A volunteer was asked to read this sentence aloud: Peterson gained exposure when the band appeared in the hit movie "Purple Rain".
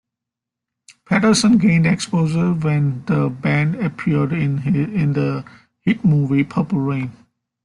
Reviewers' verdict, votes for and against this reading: accepted, 2, 0